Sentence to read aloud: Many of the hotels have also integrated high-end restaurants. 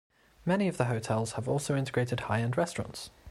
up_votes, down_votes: 2, 0